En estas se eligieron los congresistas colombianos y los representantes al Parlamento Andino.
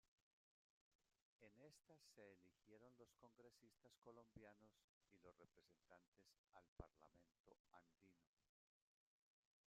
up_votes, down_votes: 0, 2